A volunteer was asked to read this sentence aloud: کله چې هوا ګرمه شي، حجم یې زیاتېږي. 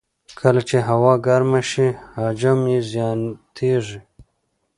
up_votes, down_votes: 2, 0